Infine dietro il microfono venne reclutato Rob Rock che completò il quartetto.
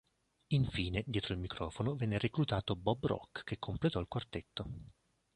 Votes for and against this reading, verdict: 0, 2, rejected